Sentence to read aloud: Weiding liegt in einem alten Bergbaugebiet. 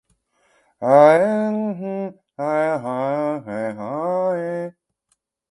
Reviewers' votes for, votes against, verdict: 0, 2, rejected